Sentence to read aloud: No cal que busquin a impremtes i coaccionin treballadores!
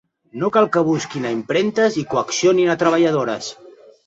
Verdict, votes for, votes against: rejected, 0, 2